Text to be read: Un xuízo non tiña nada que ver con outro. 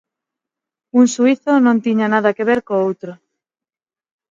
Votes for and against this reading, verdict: 3, 6, rejected